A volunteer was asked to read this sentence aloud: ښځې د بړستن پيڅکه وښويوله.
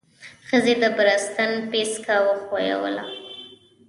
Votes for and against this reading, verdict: 1, 2, rejected